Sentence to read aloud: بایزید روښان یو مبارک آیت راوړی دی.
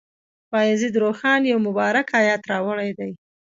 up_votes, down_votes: 2, 0